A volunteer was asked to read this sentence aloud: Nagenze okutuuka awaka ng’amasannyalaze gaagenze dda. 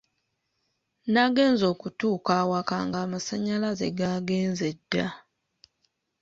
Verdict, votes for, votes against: accepted, 2, 1